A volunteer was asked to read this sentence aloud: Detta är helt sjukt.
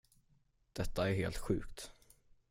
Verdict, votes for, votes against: accepted, 10, 0